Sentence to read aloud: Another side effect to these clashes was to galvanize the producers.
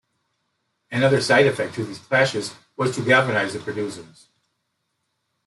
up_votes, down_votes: 0, 2